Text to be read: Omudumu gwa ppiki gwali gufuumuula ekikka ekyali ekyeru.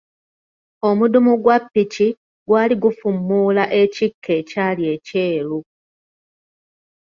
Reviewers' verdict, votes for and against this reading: accepted, 2, 0